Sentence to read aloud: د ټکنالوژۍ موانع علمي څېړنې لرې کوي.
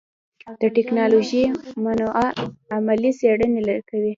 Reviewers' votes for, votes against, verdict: 2, 1, accepted